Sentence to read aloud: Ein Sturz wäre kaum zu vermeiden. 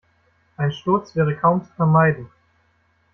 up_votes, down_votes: 2, 1